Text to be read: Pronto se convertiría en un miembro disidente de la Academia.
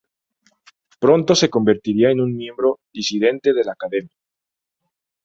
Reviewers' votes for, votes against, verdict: 0, 2, rejected